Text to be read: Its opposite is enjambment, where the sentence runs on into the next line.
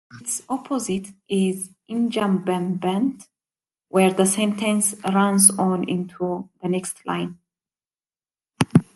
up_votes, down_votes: 0, 2